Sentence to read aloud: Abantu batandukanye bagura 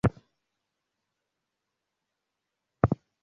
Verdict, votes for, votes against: rejected, 0, 2